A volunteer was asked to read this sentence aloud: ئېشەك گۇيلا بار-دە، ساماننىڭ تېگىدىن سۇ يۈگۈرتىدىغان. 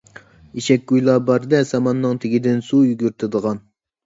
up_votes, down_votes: 2, 0